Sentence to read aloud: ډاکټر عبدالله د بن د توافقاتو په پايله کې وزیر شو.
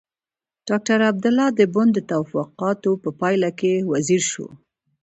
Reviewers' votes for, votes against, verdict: 2, 0, accepted